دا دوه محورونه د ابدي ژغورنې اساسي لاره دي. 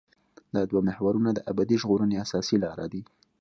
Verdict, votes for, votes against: accepted, 2, 0